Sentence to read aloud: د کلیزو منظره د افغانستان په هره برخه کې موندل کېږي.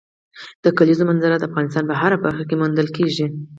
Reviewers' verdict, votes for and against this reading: accepted, 4, 0